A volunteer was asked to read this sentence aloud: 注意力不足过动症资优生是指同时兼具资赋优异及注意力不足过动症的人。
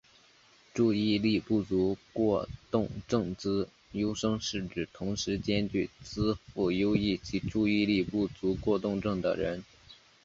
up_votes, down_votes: 3, 0